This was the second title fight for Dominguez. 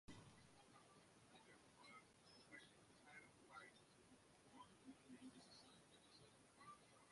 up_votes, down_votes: 0, 2